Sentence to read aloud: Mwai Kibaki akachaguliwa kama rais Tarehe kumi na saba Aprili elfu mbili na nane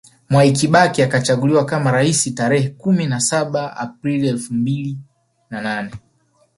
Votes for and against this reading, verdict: 2, 0, accepted